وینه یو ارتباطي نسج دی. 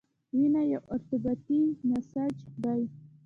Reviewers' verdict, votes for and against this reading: accepted, 2, 1